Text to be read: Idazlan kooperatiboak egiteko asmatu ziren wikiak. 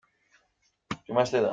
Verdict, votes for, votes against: rejected, 0, 2